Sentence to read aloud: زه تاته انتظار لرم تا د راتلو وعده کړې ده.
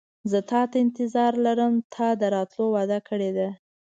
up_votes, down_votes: 2, 0